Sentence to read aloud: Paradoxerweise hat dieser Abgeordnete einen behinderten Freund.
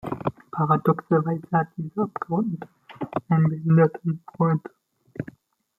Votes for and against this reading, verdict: 1, 2, rejected